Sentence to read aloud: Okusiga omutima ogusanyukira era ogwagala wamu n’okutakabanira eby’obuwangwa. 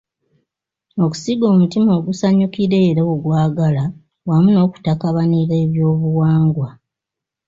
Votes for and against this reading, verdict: 0, 2, rejected